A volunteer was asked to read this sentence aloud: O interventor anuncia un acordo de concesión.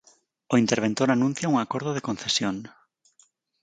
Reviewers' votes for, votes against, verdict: 4, 0, accepted